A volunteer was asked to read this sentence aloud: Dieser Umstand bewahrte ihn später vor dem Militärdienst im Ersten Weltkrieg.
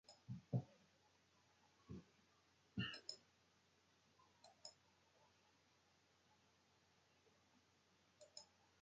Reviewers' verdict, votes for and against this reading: rejected, 0, 2